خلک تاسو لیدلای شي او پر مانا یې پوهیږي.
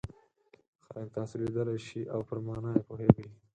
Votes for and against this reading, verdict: 0, 4, rejected